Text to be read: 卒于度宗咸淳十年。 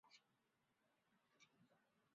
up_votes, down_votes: 0, 2